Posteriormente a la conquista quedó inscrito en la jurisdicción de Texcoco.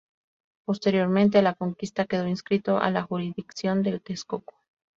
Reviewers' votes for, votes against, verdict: 0, 2, rejected